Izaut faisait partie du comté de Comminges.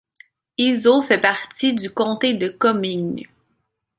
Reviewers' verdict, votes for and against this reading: accepted, 2, 1